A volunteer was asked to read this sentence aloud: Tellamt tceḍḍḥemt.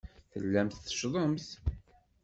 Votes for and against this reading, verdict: 1, 2, rejected